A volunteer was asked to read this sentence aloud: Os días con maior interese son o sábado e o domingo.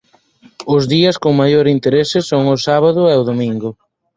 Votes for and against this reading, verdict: 4, 0, accepted